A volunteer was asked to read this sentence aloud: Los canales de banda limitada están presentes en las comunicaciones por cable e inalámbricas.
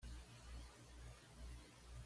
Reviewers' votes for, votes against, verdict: 1, 2, rejected